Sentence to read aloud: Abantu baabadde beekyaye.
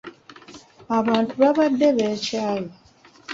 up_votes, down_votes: 2, 1